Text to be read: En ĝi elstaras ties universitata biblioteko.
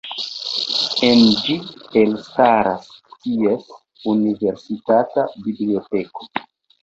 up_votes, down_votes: 1, 2